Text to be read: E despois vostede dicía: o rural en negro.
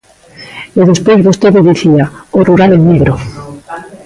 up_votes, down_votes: 0, 2